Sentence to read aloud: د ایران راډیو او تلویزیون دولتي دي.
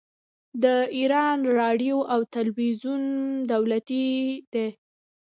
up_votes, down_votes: 2, 1